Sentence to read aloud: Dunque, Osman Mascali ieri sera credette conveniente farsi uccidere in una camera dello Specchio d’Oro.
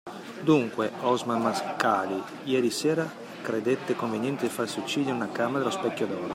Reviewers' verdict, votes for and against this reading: rejected, 1, 2